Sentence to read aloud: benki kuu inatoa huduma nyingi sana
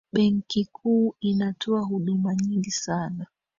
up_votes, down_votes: 0, 2